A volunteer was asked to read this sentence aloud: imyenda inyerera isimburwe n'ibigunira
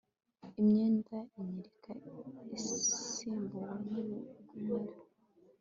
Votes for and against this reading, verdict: 0, 2, rejected